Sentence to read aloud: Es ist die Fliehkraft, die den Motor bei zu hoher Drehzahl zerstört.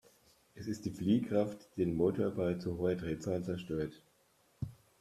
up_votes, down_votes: 1, 2